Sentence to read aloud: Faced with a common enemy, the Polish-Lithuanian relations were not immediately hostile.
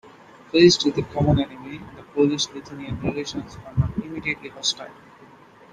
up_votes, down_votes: 0, 2